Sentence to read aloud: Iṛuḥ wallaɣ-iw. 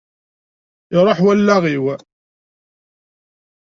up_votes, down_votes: 2, 0